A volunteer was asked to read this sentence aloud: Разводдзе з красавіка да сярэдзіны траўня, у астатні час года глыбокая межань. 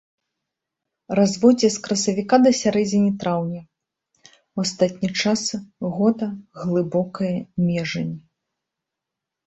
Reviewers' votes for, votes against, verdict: 2, 0, accepted